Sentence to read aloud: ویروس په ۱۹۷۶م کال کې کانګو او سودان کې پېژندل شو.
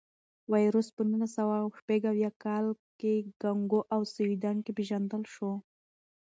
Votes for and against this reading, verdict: 0, 2, rejected